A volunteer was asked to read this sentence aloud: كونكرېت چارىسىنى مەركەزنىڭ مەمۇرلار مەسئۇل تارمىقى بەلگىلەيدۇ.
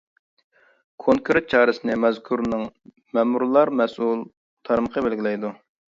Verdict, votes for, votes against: rejected, 0, 2